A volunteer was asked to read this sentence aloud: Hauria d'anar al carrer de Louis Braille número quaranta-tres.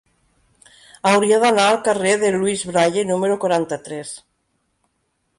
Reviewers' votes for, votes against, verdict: 3, 0, accepted